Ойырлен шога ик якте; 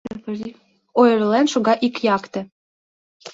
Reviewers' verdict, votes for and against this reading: rejected, 0, 2